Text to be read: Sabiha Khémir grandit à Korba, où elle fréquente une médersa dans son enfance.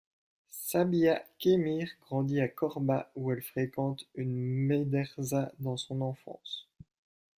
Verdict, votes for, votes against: accepted, 2, 0